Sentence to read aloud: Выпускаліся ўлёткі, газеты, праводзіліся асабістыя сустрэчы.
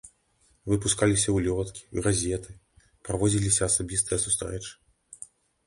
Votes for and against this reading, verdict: 2, 0, accepted